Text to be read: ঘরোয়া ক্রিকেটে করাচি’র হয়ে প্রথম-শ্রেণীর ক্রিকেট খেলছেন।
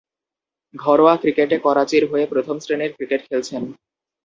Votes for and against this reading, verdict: 2, 2, rejected